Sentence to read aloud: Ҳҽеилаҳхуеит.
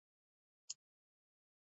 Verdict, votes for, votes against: rejected, 0, 2